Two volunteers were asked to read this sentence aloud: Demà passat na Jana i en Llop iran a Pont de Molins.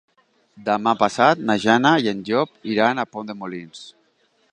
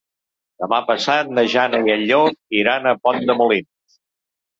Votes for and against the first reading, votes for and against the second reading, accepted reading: 3, 0, 1, 2, first